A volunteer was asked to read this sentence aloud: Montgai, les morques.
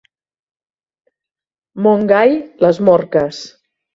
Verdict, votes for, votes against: accepted, 2, 0